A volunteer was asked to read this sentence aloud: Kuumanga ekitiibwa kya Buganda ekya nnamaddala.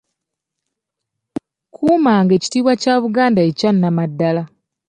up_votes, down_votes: 2, 0